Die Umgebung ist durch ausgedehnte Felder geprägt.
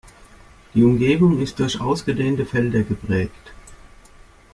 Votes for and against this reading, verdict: 2, 0, accepted